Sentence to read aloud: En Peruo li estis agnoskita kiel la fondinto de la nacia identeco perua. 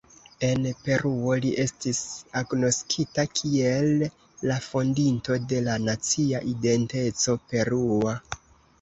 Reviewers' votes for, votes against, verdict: 2, 0, accepted